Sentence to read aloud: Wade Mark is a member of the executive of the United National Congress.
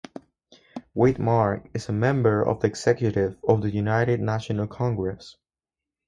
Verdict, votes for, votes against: accepted, 4, 0